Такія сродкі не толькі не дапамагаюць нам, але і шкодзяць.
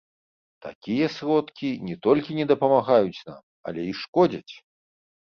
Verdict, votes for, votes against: rejected, 0, 2